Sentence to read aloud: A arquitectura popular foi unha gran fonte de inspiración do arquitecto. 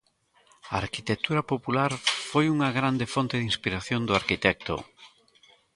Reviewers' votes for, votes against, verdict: 1, 3, rejected